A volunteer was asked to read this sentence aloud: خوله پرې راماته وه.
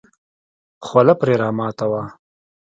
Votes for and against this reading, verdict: 3, 0, accepted